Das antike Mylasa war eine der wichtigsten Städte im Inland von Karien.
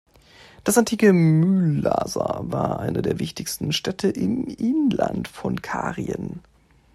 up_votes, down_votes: 2, 1